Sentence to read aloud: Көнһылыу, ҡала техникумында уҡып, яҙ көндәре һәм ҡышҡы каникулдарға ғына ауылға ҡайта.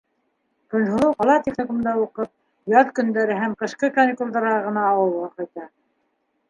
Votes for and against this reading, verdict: 0, 2, rejected